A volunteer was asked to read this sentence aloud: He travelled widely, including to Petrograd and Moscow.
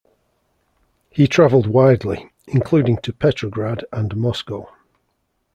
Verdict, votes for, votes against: accepted, 2, 0